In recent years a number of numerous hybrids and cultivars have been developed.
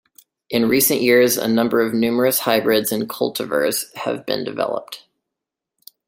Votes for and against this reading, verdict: 2, 0, accepted